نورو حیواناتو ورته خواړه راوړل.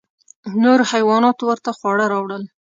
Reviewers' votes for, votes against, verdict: 2, 0, accepted